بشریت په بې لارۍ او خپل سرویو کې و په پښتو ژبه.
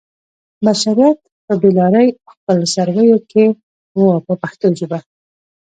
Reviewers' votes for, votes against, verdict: 2, 1, accepted